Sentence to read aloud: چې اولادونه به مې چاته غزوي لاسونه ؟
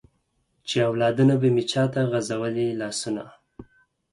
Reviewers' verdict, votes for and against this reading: rejected, 2, 4